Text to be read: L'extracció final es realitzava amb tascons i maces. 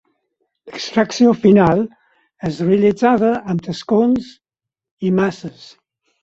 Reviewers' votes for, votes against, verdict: 4, 0, accepted